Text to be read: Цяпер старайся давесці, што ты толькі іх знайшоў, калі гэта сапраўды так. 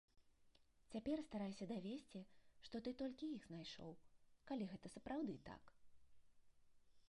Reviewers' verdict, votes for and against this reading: accepted, 2, 0